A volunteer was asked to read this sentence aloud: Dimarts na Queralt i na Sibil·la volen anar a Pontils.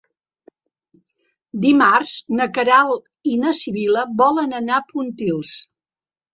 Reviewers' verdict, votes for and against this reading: accepted, 2, 0